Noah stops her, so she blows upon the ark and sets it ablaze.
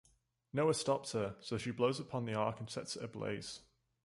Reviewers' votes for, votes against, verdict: 2, 0, accepted